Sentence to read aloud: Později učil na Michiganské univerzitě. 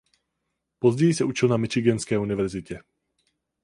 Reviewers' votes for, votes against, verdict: 4, 4, rejected